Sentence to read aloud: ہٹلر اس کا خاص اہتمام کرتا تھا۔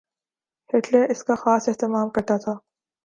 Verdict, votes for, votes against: accepted, 2, 0